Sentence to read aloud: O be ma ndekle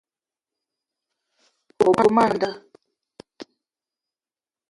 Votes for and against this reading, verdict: 0, 2, rejected